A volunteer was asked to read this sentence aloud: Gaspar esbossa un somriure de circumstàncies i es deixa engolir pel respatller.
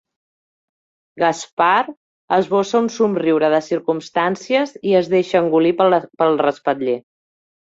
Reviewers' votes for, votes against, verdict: 0, 2, rejected